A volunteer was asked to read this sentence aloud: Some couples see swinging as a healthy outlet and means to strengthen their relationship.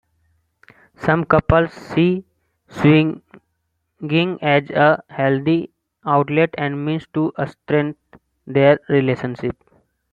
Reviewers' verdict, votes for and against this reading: rejected, 0, 2